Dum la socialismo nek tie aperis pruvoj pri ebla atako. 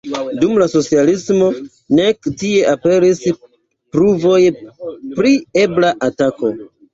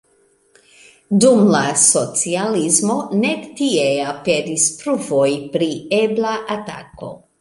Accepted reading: second